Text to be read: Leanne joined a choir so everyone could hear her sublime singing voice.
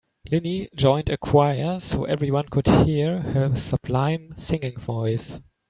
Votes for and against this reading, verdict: 1, 2, rejected